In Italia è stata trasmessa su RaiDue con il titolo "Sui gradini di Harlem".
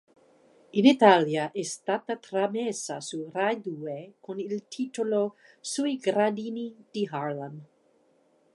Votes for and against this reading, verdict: 1, 2, rejected